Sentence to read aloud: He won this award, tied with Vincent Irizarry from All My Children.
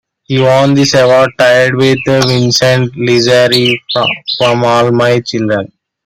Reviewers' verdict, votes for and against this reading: rejected, 1, 2